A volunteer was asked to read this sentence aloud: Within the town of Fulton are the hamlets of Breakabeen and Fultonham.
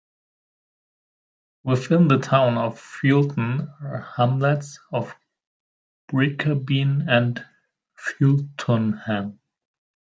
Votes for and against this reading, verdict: 1, 2, rejected